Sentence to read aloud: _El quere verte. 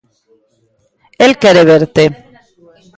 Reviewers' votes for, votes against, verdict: 1, 2, rejected